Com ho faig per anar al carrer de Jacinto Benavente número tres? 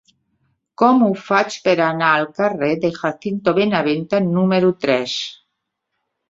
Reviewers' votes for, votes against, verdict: 2, 1, accepted